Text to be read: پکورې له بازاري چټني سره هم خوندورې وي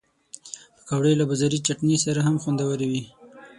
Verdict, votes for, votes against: rejected, 3, 6